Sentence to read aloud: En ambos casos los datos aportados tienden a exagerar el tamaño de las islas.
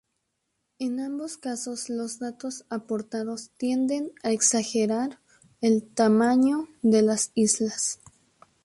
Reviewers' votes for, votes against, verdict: 0, 2, rejected